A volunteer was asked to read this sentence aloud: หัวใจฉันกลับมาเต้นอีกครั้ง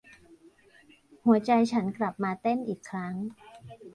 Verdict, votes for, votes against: accepted, 2, 0